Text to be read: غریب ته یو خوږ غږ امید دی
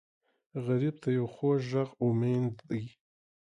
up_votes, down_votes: 3, 0